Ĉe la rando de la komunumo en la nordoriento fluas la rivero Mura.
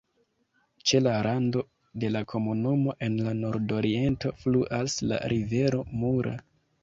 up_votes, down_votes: 3, 0